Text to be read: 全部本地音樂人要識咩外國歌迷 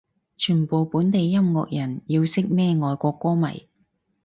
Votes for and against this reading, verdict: 4, 0, accepted